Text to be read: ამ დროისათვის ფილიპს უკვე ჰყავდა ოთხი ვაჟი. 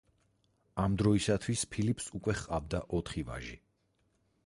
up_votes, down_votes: 6, 0